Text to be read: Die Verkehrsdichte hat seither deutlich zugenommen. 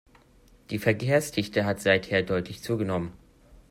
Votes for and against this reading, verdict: 2, 0, accepted